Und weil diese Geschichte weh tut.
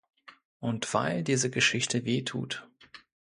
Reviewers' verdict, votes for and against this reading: accepted, 2, 0